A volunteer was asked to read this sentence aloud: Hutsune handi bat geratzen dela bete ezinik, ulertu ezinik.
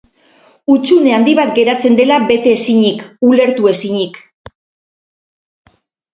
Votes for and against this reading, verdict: 6, 0, accepted